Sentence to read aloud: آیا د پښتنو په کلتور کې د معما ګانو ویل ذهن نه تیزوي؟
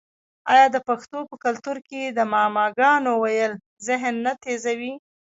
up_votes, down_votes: 0, 2